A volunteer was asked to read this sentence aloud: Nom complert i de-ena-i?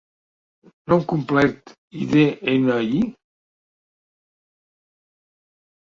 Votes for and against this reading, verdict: 0, 2, rejected